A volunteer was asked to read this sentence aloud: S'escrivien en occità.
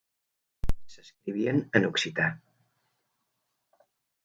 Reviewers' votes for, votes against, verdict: 1, 2, rejected